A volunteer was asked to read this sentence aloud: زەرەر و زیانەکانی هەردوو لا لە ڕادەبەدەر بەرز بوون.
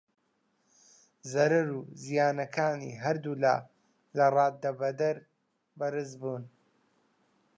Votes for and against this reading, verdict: 1, 2, rejected